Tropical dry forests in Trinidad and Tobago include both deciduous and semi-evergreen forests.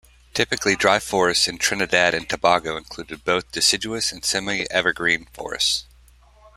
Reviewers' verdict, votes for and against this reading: rejected, 0, 2